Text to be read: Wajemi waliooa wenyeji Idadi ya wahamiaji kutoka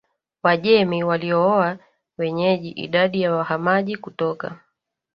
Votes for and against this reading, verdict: 0, 3, rejected